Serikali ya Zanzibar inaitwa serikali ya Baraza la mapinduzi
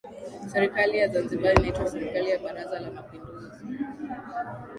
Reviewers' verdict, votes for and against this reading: rejected, 2, 3